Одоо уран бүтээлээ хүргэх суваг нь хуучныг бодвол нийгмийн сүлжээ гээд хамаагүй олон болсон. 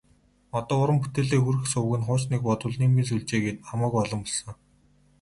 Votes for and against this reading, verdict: 8, 0, accepted